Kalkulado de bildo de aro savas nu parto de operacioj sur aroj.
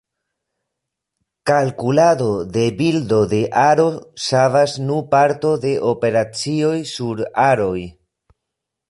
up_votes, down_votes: 1, 2